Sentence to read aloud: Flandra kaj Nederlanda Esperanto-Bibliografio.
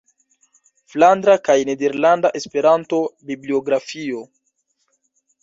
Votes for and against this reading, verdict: 1, 2, rejected